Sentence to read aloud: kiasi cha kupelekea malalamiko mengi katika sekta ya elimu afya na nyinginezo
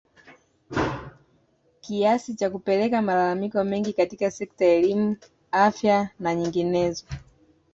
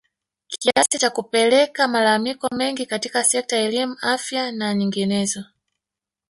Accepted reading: first